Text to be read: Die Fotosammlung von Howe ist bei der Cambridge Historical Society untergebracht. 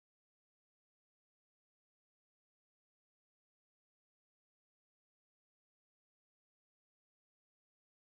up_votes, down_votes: 0, 4